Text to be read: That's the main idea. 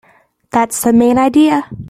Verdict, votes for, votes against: accepted, 3, 0